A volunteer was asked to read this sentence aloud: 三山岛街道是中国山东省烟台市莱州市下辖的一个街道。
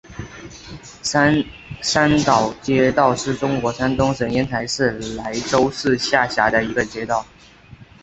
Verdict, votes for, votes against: accepted, 3, 0